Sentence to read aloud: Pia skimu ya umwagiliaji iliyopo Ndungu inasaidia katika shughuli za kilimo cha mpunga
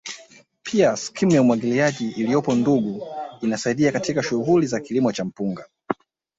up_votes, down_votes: 0, 2